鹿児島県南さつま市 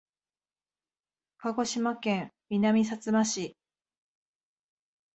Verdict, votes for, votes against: accepted, 20, 2